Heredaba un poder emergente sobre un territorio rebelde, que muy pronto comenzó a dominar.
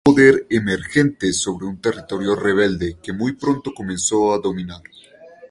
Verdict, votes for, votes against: rejected, 0, 2